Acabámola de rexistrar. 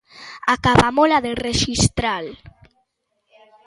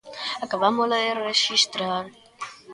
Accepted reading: second